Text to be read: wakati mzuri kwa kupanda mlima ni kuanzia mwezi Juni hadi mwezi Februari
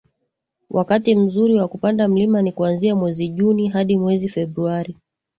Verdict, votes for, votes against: accepted, 2, 0